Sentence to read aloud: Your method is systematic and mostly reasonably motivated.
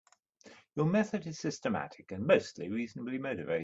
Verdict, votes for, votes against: accepted, 2, 0